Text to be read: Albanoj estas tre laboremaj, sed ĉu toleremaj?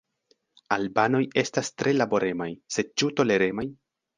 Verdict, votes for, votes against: accepted, 2, 0